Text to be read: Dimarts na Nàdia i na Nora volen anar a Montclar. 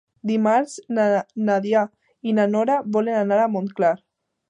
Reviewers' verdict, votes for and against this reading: rejected, 1, 2